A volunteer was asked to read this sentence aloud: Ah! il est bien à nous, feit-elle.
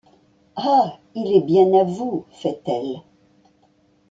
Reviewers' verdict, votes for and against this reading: rejected, 0, 2